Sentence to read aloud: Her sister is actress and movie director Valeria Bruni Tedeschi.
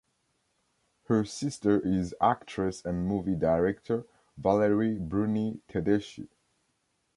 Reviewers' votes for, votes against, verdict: 1, 2, rejected